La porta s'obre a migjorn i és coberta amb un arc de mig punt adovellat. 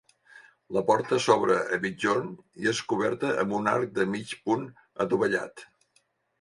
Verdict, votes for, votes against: accepted, 2, 0